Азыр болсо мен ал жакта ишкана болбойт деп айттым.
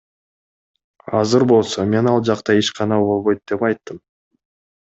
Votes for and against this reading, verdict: 2, 0, accepted